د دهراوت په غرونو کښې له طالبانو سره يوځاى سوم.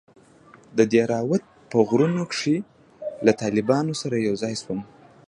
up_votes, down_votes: 2, 1